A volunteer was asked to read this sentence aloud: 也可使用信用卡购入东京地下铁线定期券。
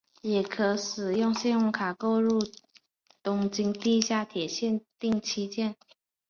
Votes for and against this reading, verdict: 4, 2, accepted